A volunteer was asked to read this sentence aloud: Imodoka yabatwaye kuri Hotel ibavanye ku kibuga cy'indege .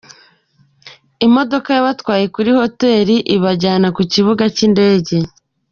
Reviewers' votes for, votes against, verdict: 0, 2, rejected